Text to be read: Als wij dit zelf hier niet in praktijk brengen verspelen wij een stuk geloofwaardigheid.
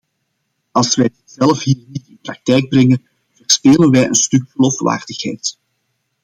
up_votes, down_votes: 0, 2